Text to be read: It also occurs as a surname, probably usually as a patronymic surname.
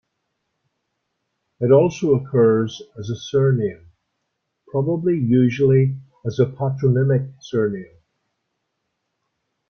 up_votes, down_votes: 2, 0